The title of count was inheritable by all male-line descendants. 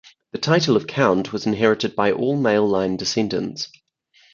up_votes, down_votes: 2, 4